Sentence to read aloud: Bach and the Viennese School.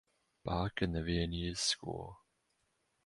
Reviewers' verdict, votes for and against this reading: accepted, 2, 0